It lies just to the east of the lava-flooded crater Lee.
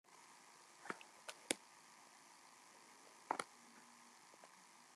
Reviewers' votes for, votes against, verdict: 0, 2, rejected